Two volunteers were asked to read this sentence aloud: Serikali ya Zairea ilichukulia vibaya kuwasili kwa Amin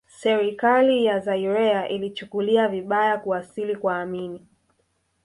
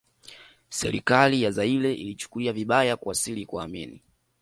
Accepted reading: second